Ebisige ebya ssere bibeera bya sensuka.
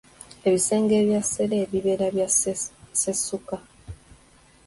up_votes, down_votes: 0, 2